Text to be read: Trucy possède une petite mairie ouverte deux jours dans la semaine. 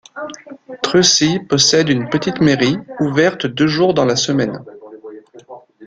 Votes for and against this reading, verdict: 1, 2, rejected